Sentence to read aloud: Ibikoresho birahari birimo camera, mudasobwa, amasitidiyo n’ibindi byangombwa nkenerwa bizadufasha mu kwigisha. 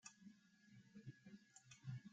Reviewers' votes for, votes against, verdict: 0, 3, rejected